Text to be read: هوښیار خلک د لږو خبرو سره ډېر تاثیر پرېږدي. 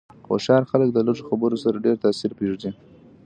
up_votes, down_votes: 2, 0